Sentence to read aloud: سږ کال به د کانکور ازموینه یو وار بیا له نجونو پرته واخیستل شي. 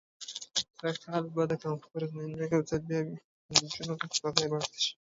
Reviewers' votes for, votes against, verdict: 1, 2, rejected